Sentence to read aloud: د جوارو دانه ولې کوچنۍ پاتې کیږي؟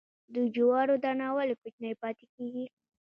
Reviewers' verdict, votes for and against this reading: accepted, 2, 0